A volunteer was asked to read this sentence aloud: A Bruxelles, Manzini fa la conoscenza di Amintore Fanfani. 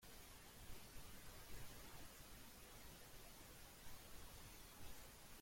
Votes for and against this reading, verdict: 1, 3, rejected